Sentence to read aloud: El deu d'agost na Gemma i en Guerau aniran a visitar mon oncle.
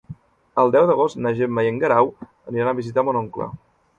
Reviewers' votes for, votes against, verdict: 4, 0, accepted